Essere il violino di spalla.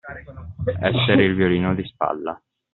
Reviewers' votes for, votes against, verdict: 2, 0, accepted